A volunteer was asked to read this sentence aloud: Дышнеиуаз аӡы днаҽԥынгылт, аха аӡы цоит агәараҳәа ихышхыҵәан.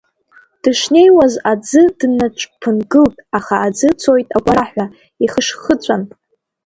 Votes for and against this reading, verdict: 0, 2, rejected